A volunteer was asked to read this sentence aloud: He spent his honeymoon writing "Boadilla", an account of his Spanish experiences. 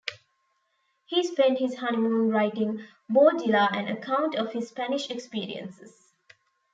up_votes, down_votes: 0, 2